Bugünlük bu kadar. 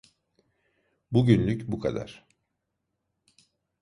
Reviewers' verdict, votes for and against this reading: accepted, 2, 0